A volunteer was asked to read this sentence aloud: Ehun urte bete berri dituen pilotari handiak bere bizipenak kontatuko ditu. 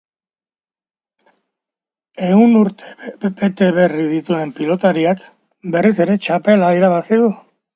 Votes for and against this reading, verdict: 0, 2, rejected